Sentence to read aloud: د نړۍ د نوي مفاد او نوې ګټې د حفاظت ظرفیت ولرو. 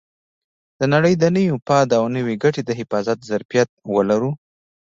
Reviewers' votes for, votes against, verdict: 1, 2, rejected